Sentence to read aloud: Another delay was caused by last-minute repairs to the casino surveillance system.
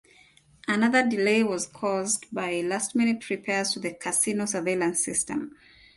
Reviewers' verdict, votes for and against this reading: accepted, 2, 0